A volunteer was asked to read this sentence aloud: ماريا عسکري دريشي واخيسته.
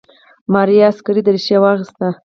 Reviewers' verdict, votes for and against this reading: accepted, 4, 0